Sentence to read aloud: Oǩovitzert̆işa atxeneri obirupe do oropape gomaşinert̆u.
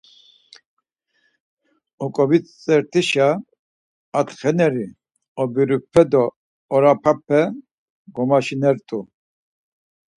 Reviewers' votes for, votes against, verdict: 2, 4, rejected